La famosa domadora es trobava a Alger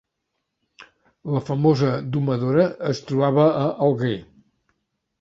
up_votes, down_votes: 1, 2